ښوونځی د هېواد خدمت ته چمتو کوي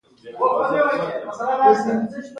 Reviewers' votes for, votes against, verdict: 3, 0, accepted